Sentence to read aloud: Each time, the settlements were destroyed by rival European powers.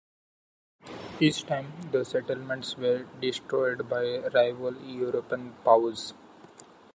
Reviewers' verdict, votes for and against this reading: accepted, 2, 1